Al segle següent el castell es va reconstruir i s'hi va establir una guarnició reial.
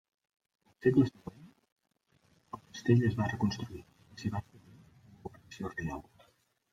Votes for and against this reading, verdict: 0, 2, rejected